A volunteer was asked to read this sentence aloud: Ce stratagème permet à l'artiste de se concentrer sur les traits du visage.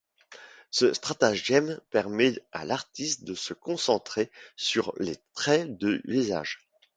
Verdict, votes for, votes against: rejected, 1, 2